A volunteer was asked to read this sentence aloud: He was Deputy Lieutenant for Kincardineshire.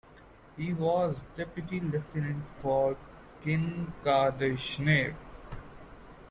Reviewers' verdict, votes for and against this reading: rejected, 1, 2